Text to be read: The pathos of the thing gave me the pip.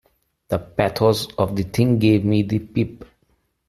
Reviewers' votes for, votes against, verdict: 2, 0, accepted